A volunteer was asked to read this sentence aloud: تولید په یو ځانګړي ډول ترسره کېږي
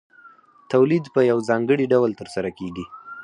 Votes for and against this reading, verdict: 2, 4, rejected